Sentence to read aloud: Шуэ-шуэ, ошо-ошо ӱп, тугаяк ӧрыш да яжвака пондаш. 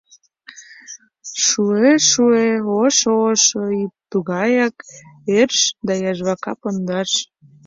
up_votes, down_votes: 2, 1